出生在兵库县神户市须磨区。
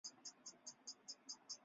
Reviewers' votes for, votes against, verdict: 0, 4, rejected